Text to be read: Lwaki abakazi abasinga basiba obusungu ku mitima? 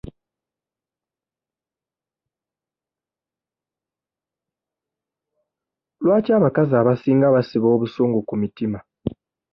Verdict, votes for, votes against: rejected, 1, 2